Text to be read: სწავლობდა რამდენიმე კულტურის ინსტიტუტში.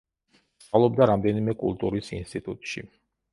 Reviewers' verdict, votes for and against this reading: rejected, 0, 2